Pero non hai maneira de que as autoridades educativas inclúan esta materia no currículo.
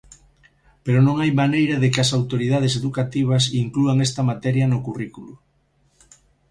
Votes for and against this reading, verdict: 2, 0, accepted